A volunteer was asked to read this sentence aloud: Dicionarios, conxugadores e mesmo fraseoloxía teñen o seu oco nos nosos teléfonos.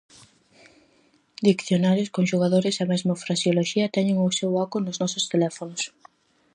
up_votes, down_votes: 0, 4